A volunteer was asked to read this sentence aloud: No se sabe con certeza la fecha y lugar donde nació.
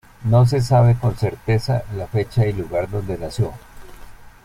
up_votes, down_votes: 1, 2